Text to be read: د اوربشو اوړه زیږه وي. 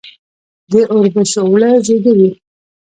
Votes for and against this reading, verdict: 0, 2, rejected